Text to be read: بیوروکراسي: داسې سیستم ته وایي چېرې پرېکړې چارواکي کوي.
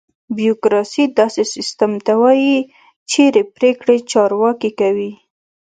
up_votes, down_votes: 2, 0